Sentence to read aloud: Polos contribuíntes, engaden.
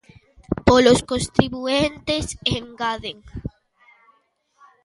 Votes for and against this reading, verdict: 0, 2, rejected